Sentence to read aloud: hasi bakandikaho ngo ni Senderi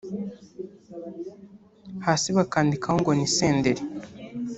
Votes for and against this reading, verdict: 1, 2, rejected